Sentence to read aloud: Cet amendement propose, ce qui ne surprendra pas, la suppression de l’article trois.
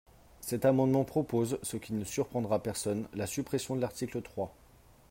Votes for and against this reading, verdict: 1, 2, rejected